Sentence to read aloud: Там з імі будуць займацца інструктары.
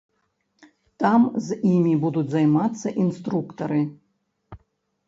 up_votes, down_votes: 1, 2